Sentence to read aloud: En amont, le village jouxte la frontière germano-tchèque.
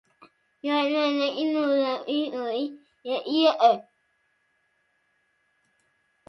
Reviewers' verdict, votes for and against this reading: rejected, 0, 2